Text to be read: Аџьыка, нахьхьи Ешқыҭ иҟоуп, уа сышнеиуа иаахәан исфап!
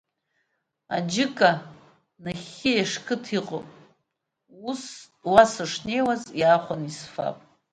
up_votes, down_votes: 0, 2